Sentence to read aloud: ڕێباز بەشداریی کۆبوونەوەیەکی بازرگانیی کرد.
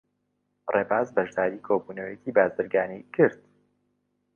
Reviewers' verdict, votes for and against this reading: accepted, 2, 0